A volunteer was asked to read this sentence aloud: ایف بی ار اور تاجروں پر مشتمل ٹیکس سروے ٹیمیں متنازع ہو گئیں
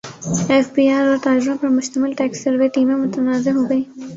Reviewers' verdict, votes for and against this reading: rejected, 2, 3